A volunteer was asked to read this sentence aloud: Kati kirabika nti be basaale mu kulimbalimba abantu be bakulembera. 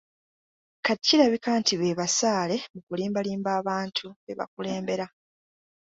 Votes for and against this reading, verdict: 2, 0, accepted